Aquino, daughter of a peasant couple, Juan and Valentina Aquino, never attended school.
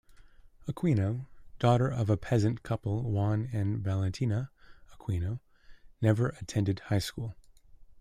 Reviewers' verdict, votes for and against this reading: rejected, 0, 2